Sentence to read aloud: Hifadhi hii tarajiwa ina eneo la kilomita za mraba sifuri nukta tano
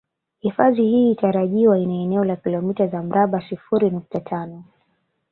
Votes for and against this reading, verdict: 1, 2, rejected